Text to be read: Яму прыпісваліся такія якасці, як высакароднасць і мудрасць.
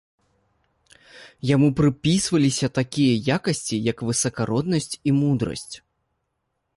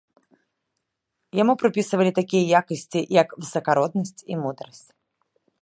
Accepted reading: first